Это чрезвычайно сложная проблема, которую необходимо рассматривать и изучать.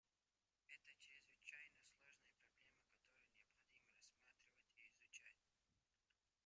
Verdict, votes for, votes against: rejected, 0, 2